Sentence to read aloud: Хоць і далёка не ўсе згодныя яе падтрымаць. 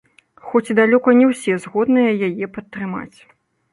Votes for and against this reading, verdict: 2, 0, accepted